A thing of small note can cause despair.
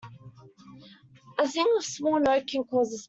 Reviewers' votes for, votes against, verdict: 0, 2, rejected